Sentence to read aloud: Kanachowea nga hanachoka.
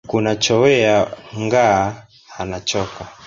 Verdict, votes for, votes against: rejected, 0, 2